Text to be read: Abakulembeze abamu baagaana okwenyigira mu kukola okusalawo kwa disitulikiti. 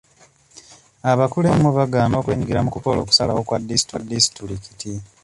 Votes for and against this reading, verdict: 0, 2, rejected